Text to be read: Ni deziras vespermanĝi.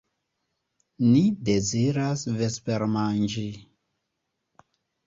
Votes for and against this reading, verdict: 2, 0, accepted